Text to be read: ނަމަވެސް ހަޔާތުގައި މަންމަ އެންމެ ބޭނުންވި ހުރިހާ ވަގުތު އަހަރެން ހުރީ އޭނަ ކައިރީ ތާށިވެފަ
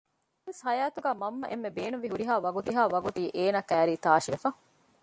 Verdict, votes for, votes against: rejected, 0, 2